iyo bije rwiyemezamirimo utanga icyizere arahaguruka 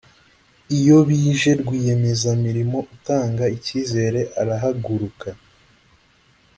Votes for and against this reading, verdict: 2, 0, accepted